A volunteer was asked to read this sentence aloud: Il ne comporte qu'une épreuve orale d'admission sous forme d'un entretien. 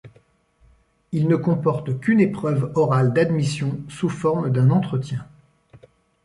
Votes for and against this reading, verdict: 2, 0, accepted